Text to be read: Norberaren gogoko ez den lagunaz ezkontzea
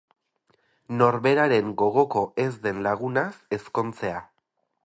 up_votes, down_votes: 2, 2